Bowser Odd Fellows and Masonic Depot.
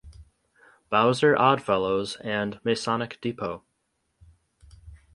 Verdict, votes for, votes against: accepted, 2, 0